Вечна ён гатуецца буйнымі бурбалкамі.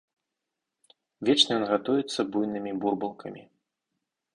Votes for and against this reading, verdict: 2, 2, rejected